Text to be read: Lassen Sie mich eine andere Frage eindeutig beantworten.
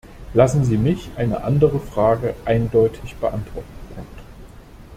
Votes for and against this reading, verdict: 1, 2, rejected